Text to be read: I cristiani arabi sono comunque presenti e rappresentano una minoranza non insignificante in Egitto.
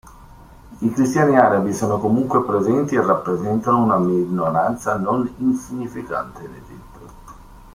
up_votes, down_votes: 1, 2